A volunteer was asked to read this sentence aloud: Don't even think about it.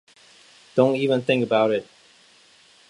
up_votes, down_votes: 2, 0